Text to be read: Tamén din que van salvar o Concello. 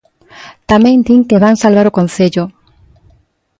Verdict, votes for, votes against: accepted, 2, 0